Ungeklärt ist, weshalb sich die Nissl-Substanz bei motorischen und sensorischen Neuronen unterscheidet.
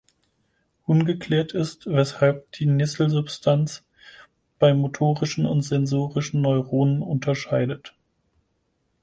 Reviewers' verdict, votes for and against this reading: rejected, 2, 4